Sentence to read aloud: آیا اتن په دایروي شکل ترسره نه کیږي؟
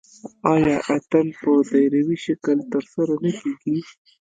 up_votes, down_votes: 1, 2